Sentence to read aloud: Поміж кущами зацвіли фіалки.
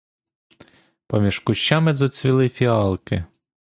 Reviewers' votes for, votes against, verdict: 2, 0, accepted